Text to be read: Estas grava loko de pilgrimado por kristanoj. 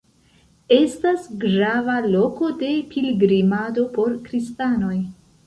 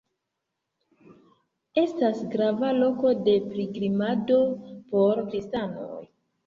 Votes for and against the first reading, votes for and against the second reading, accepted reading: 1, 2, 2, 1, second